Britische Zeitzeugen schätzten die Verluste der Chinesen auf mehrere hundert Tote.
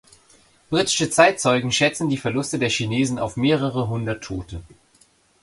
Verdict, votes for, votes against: accepted, 2, 0